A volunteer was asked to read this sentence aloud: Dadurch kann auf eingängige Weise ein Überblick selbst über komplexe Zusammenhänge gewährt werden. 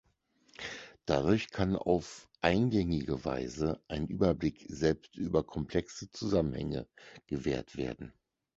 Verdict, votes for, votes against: accepted, 4, 0